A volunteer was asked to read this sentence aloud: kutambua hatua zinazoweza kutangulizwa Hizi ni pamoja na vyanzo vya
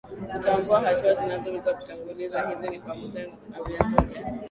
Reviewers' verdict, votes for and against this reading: rejected, 1, 2